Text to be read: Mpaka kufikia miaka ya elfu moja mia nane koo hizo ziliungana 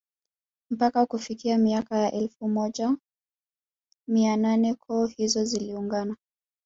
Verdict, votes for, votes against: rejected, 1, 2